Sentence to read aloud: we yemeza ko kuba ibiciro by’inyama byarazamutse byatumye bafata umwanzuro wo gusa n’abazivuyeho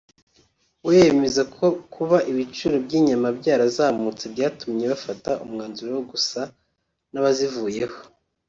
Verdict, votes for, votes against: accepted, 2, 0